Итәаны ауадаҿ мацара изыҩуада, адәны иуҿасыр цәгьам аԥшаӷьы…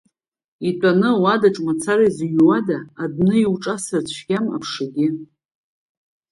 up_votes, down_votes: 2, 0